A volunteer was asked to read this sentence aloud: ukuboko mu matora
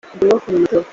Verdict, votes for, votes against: rejected, 1, 2